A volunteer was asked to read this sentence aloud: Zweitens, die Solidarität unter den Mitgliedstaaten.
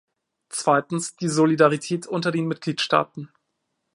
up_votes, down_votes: 2, 0